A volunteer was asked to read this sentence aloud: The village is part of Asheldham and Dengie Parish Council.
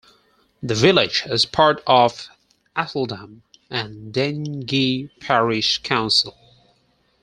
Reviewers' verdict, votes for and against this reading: accepted, 4, 0